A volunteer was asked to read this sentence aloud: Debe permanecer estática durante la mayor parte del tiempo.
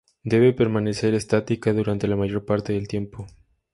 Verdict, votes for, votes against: accepted, 2, 0